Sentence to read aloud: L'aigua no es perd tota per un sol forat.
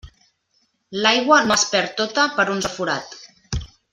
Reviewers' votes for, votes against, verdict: 1, 2, rejected